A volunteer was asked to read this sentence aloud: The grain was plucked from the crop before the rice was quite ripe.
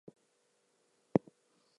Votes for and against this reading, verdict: 0, 4, rejected